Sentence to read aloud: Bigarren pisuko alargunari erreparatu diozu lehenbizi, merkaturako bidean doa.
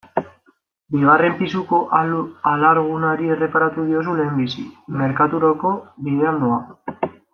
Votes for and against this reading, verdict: 0, 2, rejected